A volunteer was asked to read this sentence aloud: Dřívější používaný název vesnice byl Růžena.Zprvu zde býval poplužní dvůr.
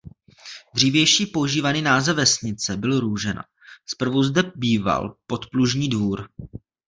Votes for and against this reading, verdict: 1, 2, rejected